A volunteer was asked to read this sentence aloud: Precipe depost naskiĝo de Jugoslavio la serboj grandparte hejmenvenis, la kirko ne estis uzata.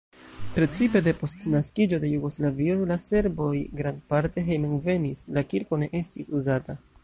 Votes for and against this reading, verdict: 1, 2, rejected